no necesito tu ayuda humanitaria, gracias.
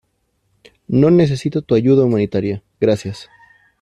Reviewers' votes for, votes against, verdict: 2, 1, accepted